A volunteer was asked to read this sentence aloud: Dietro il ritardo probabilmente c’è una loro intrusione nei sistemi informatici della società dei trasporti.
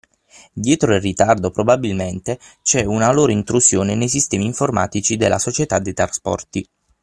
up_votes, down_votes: 0, 6